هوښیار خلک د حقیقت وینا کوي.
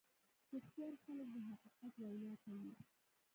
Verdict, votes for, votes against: rejected, 1, 2